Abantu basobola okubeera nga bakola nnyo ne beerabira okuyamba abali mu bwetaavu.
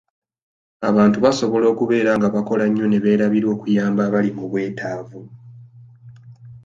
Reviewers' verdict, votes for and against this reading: accepted, 2, 0